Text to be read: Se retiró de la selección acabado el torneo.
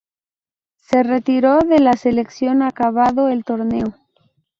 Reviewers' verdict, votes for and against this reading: rejected, 2, 2